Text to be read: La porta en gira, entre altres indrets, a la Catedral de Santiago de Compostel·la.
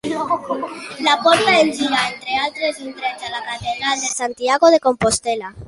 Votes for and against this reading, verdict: 3, 4, rejected